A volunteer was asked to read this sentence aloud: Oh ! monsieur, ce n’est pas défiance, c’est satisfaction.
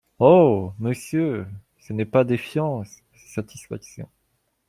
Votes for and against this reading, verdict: 1, 2, rejected